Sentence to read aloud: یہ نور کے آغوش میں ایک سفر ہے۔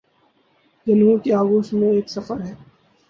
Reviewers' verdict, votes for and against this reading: rejected, 0, 2